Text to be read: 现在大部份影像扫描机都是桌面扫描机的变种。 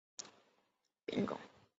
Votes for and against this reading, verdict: 1, 3, rejected